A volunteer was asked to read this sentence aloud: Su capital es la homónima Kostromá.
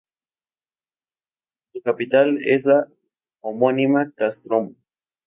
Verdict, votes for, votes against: rejected, 2, 2